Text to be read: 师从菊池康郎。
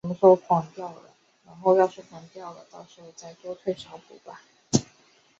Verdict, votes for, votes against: rejected, 1, 2